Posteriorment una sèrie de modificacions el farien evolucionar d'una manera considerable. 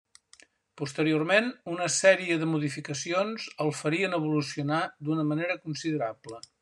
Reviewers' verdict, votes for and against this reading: accepted, 3, 0